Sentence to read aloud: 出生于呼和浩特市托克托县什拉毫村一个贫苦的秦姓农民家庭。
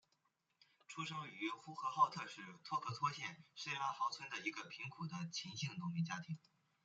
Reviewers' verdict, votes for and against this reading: accepted, 2, 0